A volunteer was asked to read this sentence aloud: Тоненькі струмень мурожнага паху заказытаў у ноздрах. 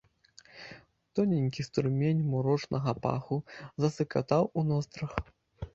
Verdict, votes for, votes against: rejected, 1, 2